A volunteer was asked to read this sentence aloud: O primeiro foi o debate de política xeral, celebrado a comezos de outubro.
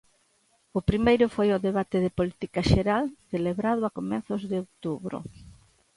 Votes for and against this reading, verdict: 2, 0, accepted